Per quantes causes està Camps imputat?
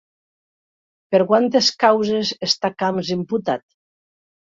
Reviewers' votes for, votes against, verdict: 3, 0, accepted